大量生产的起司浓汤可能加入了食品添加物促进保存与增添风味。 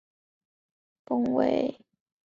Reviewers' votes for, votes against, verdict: 0, 3, rejected